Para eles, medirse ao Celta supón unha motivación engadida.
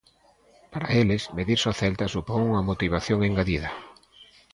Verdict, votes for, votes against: accepted, 2, 0